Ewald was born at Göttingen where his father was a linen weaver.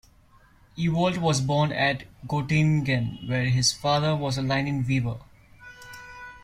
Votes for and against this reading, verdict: 1, 2, rejected